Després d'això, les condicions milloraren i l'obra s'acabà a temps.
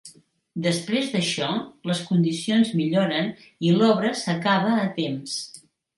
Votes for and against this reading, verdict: 0, 2, rejected